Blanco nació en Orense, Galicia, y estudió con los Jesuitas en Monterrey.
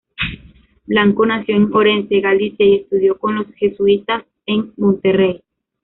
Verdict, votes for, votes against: rejected, 0, 2